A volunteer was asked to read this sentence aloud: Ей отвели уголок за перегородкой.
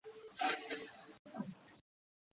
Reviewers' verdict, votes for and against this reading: rejected, 0, 2